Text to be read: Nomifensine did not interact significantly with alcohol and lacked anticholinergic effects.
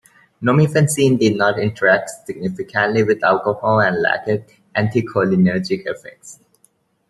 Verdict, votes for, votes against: accepted, 2, 1